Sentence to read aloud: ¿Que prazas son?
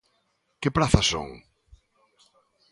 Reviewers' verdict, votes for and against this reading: accepted, 2, 0